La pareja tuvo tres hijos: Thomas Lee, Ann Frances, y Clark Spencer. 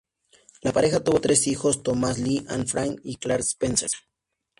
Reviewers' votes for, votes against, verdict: 2, 0, accepted